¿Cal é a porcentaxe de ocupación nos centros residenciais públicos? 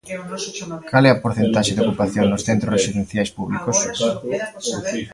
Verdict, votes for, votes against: rejected, 0, 2